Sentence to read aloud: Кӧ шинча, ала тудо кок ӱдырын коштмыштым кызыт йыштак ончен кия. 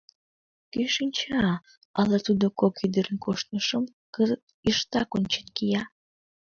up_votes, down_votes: 2, 3